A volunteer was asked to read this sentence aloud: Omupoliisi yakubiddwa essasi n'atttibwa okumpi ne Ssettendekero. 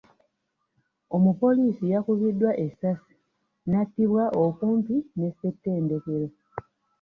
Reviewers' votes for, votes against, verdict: 1, 2, rejected